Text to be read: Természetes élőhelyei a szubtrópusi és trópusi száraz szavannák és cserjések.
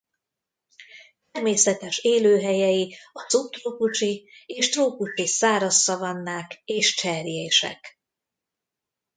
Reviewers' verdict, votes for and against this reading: rejected, 1, 2